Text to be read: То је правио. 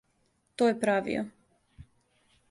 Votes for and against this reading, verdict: 2, 0, accepted